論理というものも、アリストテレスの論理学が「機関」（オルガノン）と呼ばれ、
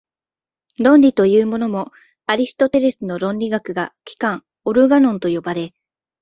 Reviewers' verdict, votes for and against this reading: accepted, 2, 0